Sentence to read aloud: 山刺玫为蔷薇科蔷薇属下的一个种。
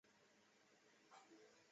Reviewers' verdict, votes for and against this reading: rejected, 1, 5